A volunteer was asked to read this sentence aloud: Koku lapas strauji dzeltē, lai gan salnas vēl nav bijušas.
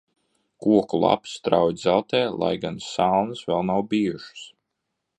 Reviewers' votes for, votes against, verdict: 2, 0, accepted